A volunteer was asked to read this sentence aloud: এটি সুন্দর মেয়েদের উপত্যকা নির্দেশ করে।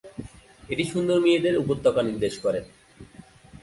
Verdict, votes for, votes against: rejected, 0, 2